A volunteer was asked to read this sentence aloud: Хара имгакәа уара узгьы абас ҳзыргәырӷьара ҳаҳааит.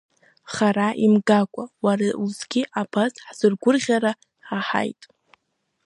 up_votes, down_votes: 2, 0